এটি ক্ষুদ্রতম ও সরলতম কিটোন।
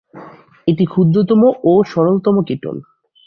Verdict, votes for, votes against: accepted, 8, 4